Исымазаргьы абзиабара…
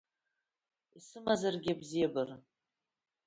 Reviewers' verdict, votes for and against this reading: accepted, 2, 0